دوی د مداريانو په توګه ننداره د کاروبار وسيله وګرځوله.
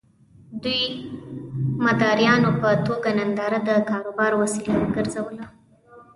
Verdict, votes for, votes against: rejected, 0, 2